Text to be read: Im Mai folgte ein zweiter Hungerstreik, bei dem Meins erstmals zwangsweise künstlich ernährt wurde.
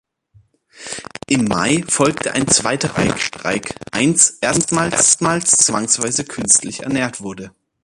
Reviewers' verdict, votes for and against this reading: rejected, 0, 3